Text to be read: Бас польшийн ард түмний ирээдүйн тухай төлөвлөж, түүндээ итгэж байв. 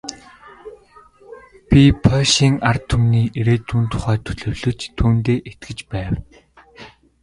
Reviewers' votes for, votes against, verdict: 0, 2, rejected